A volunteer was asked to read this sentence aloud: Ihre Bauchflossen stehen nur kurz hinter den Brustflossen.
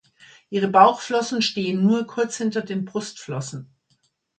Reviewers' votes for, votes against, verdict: 2, 0, accepted